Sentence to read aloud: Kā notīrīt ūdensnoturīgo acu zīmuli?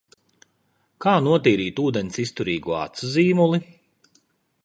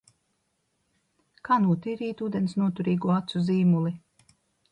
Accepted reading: second